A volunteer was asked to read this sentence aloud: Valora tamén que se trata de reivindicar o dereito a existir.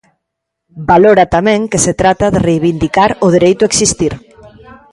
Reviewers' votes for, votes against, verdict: 0, 2, rejected